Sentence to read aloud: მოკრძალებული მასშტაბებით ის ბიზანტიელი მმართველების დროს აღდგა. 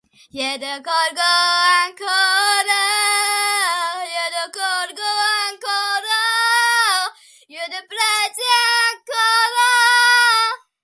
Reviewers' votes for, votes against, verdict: 0, 2, rejected